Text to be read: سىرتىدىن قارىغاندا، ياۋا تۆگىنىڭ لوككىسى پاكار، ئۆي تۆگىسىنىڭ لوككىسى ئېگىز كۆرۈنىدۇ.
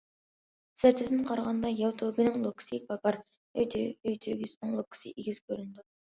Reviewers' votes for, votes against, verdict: 0, 2, rejected